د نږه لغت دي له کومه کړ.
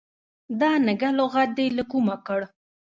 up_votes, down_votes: 0, 2